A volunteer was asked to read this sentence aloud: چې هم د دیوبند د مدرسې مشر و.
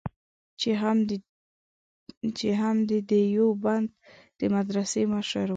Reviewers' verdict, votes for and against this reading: rejected, 0, 5